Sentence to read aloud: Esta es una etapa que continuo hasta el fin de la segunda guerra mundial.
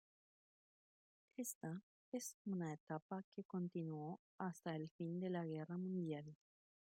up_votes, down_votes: 1, 2